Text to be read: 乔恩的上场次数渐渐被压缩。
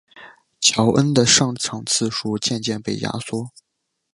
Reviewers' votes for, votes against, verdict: 1, 2, rejected